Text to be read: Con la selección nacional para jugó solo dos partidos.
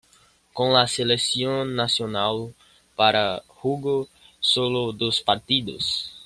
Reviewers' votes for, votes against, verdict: 0, 2, rejected